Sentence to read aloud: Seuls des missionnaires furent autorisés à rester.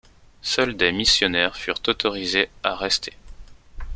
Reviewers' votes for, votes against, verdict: 2, 0, accepted